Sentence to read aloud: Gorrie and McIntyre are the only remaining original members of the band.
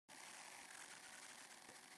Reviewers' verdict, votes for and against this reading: rejected, 0, 2